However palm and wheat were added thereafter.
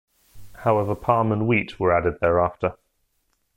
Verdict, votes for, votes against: rejected, 1, 2